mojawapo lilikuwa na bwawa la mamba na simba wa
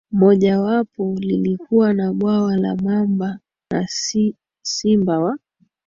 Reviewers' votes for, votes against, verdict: 2, 0, accepted